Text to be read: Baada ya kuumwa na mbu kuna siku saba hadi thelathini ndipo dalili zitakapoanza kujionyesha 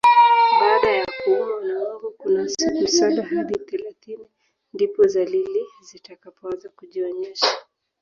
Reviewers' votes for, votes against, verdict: 0, 3, rejected